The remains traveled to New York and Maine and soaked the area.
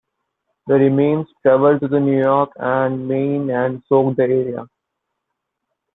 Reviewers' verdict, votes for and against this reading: rejected, 0, 2